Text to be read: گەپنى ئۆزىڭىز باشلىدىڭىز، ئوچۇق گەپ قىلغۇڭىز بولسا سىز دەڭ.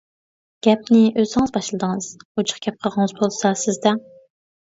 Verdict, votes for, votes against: rejected, 0, 2